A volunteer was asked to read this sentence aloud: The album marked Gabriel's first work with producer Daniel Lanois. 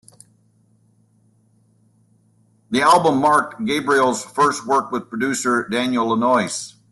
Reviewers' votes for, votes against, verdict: 2, 0, accepted